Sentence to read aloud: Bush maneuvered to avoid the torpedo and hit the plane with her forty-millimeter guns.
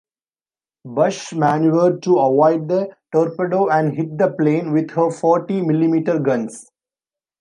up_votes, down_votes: 2, 1